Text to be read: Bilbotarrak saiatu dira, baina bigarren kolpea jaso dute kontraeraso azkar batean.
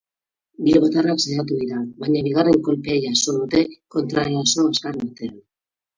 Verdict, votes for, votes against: rejected, 2, 8